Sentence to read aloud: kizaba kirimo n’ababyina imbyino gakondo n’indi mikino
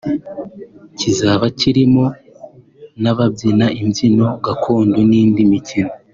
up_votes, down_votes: 2, 0